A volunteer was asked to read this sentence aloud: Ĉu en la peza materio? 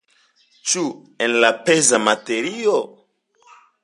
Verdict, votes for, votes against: accepted, 2, 0